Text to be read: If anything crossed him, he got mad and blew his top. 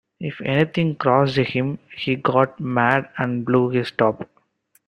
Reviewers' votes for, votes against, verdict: 2, 0, accepted